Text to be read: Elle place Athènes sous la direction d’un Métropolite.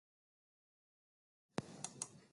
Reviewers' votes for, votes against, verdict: 1, 2, rejected